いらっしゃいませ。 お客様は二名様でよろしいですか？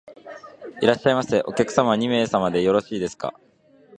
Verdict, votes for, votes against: accepted, 2, 0